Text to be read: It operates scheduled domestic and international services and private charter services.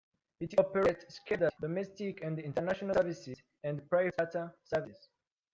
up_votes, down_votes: 0, 2